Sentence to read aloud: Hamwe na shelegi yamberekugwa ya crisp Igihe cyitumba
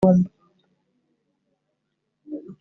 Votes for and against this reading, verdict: 0, 2, rejected